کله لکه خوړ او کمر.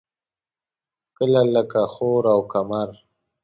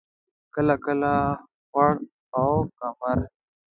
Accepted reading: second